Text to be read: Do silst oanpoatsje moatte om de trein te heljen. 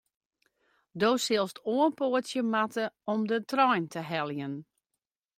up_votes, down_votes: 2, 0